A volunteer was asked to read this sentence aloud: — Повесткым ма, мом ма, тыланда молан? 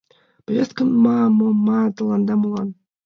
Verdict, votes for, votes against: rejected, 2, 5